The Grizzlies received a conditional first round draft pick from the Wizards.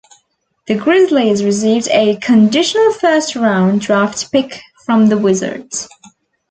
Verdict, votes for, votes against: accepted, 2, 0